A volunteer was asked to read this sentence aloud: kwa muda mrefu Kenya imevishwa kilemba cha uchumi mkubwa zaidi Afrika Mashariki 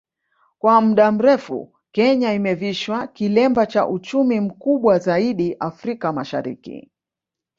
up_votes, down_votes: 2, 0